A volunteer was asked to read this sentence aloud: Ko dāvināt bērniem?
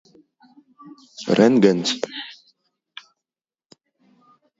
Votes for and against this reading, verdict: 0, 2, rejected